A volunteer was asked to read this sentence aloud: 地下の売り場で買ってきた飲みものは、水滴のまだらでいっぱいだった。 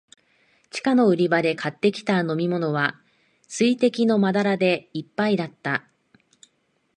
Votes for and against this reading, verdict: 2, 0, accepted